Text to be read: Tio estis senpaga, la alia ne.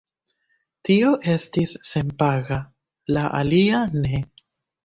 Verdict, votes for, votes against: rejected, 1, 2